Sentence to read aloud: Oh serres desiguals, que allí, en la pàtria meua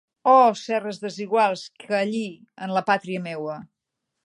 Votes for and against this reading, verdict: 2, 0, accepted